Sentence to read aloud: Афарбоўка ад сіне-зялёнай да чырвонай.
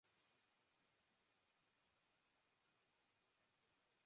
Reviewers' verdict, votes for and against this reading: rejected, 0, 2